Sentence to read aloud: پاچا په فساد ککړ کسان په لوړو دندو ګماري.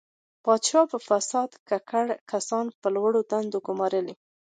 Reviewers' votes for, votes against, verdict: 2, 0, accepted